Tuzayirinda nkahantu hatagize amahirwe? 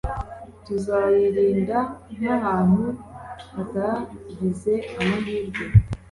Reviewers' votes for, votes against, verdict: 2, 0, accepted